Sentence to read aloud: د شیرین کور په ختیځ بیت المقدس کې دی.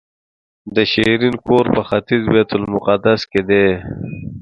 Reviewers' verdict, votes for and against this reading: accepted, 2, 0